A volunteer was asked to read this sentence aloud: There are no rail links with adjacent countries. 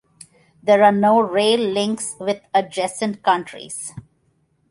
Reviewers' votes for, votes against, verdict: 0, 2, rejected